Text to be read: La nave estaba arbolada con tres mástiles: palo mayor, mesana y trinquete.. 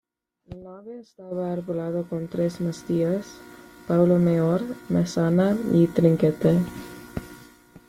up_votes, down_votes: 1, 2